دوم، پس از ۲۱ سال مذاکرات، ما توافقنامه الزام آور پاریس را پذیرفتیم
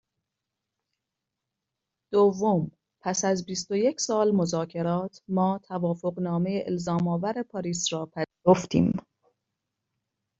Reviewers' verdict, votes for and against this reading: rejected, 0, 2